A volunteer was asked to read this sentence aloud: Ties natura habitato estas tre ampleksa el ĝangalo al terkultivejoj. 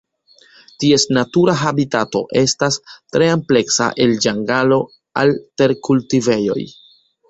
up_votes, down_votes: 2, 0